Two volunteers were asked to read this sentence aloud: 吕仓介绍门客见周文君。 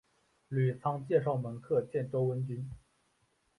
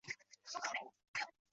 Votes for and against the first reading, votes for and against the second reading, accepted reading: 3, 1, 0, 3, first